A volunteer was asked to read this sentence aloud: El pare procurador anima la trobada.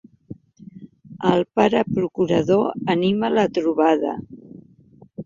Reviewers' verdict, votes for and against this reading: accepted, 3, 0